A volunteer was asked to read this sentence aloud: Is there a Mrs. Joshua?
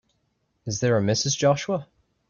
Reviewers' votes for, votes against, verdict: 2, 0, accepted